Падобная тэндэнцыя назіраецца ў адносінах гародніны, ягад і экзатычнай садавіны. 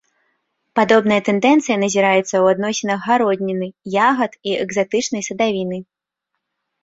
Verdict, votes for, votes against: accepted, 2, 0